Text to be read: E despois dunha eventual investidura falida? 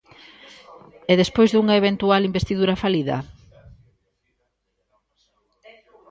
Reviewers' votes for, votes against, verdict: 1, 2, rejected